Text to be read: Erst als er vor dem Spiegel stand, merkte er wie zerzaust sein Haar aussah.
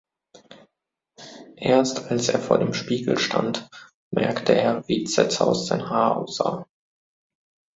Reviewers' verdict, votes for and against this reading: accepted, 2, 0